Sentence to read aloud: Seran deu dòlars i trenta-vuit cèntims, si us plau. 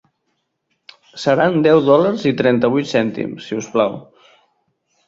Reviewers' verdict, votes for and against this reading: accepted, 2, 0